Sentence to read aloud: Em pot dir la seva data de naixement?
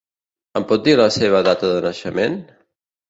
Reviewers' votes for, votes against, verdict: 2, 0, accepted